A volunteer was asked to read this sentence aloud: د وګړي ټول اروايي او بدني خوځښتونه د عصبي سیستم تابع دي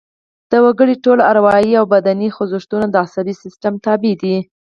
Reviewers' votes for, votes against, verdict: 2, 4, rejected